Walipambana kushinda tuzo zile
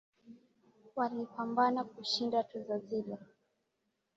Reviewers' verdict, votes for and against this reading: accepted, 2, 0